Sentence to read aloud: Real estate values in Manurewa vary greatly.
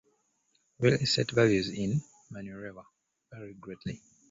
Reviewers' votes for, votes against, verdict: 1, 2, rejected